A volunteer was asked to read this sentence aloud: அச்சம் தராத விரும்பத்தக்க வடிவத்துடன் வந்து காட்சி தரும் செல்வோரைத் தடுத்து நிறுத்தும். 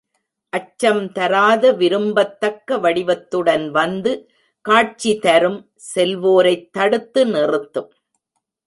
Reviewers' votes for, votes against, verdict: 1, 2, rejected